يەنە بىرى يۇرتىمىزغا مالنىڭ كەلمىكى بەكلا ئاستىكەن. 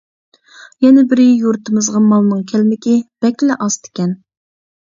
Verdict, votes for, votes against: accepted, 2, 0